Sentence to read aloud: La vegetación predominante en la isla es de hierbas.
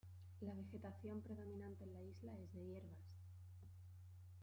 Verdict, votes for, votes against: accepted, 2, 1